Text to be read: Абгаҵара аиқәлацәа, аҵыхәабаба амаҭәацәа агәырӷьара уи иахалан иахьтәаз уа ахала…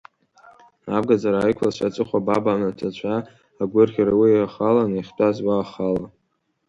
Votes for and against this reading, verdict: 1, 2, rejected